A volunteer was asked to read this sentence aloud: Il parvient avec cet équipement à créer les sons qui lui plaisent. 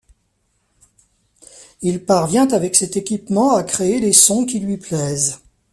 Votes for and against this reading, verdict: 2, 0, accepted